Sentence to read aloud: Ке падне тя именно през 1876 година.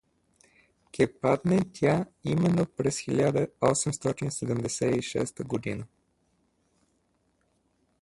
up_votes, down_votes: 0, 2